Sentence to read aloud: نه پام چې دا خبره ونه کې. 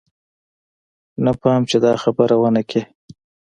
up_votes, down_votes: 2, 0